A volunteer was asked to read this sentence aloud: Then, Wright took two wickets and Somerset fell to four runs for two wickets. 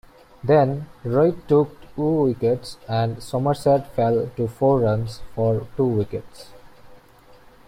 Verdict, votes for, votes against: accepted, 2, 0